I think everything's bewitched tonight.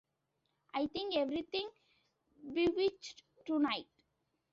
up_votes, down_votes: 0, 2